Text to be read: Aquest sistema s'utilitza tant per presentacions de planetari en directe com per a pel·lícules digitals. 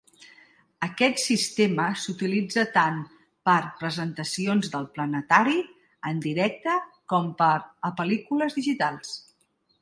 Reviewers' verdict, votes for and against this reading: rejected, 1, 2